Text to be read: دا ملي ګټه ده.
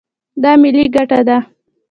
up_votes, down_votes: 2, 0